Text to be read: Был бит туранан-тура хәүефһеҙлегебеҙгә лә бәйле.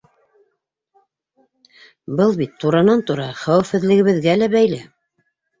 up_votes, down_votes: 2, 1